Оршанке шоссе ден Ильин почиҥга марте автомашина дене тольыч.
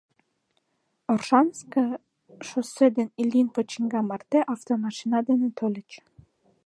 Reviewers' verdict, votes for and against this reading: rejected, 0, 2